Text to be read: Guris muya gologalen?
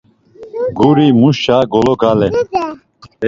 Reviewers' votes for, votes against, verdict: 0, 2, rejected